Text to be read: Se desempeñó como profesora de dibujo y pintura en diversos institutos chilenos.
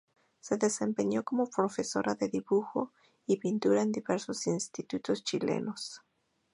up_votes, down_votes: 2, 0